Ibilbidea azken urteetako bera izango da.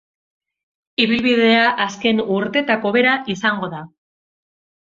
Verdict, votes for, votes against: accepted, 2, 0